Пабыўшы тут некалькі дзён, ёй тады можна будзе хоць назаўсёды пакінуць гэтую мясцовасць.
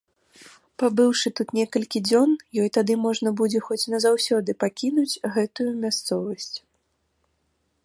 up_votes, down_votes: 2, 0